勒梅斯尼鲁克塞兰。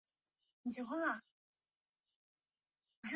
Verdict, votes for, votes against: rejected, 1, 3